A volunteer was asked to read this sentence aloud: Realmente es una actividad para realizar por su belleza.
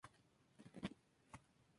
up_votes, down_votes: 0, 2